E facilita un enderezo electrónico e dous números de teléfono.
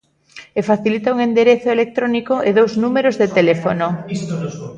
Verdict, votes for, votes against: rejected, 1, 2